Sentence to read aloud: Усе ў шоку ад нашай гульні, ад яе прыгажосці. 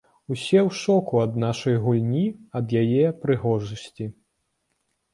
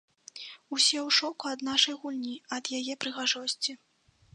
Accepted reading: second